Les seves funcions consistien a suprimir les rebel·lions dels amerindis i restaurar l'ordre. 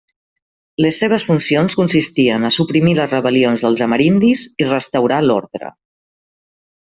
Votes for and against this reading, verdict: 2, 0, accepted